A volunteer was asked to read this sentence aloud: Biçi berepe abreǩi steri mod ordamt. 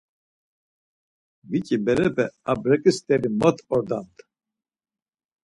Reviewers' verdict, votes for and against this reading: accepted, 4, 2